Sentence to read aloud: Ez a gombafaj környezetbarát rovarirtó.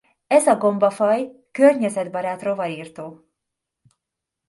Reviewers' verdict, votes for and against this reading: accepted, 2, 0